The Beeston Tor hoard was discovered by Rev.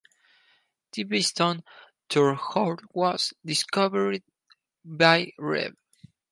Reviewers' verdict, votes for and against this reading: accepted, 4, 0